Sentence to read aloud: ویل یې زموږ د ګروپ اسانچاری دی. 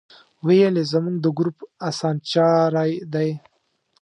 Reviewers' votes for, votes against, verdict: 2, 0, accepted